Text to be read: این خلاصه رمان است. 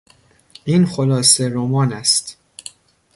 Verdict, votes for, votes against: rejected, 0, 2